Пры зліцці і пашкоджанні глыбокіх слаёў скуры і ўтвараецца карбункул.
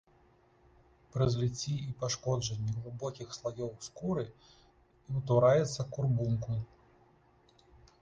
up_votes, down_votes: 1, 2